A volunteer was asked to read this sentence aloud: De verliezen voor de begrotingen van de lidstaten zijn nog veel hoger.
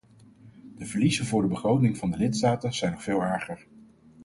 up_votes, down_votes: 2, 4